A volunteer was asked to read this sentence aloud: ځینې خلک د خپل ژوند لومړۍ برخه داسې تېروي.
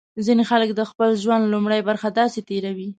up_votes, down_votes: 2, 0